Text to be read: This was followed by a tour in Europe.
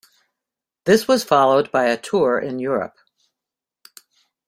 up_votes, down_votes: 2, 0